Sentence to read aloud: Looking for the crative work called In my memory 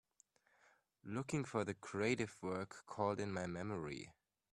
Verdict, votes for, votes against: accepted, 2, 0